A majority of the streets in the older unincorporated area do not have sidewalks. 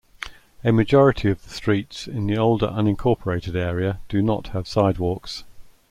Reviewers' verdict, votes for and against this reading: accepted, 2, 0